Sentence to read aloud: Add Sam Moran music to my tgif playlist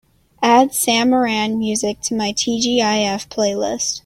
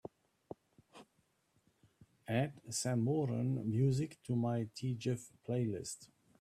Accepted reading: first